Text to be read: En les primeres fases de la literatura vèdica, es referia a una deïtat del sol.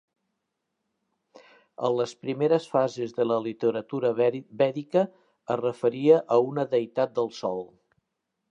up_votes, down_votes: 0, 2